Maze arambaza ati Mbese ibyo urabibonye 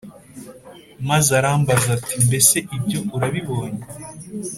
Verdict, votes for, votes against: accepted, 2, 0